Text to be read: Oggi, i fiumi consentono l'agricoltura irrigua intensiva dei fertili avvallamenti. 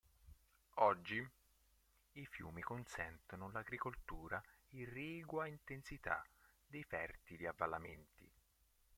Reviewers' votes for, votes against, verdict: 0, 3, rejected